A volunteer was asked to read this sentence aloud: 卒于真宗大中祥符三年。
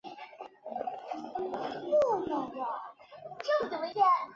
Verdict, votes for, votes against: rejected, 1, 3